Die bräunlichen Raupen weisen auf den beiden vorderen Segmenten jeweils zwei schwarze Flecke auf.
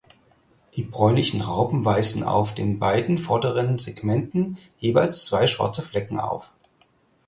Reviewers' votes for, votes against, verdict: 0, 4, rejected